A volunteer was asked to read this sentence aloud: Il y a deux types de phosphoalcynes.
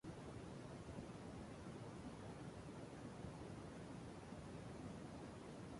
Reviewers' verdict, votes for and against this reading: rejected, 0, 2